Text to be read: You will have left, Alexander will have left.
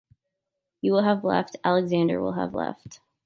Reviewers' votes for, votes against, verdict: 2, 0, accepted